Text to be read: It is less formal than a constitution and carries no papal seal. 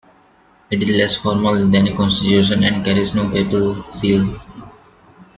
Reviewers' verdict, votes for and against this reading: accepted, 2, 0